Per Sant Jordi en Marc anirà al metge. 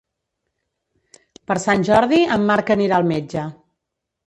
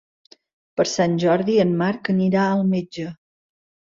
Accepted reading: second